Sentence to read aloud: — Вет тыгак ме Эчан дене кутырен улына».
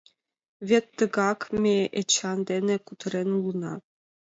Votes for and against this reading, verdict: 2, 0, accepted